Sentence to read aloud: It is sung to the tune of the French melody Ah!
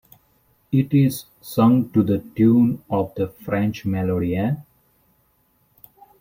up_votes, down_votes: 1, 2